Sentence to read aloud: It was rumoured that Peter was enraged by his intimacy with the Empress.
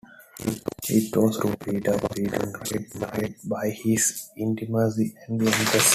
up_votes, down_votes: 0, 2